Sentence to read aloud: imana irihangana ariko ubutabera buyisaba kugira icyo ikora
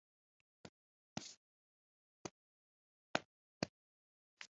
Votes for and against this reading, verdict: 0, 2, rejected